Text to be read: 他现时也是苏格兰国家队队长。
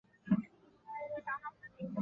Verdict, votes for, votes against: rejected, 1, 2